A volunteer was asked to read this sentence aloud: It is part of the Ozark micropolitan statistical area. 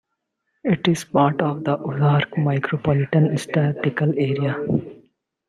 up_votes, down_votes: 1, 2